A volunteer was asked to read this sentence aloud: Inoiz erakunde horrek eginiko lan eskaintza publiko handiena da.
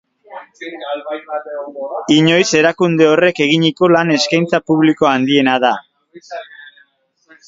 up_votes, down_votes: 0, 3